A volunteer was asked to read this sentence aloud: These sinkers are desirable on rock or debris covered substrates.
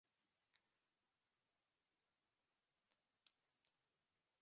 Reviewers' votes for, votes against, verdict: 0, 2, rejected